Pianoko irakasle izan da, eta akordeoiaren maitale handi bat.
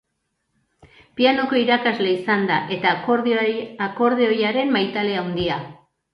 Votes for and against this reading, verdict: 0, 2, rejected